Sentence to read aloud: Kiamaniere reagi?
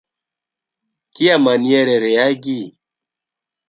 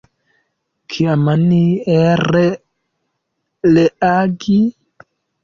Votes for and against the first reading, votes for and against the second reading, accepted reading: 2, 0, 1, 2, first